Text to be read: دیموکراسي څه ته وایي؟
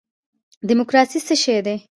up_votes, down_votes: 0, 2